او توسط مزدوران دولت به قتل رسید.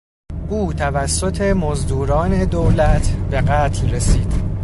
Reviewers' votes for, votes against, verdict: 2, 0, accepted